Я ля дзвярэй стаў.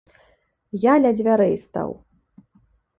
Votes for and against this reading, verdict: 2, 0, accepted